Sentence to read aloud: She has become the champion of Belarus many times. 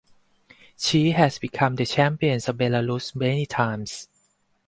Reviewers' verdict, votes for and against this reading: rejected, 0, 2